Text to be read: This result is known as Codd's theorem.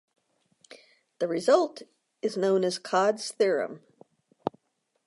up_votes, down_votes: 1, 2